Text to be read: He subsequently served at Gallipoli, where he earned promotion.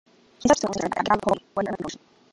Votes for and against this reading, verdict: 0, 3, rejected